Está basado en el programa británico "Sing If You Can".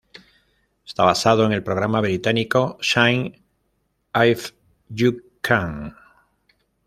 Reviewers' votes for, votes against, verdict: 1, 2, rejected